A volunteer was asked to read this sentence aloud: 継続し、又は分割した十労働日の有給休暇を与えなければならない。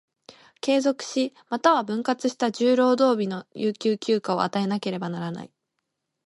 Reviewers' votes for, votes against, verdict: 2, 0, accepted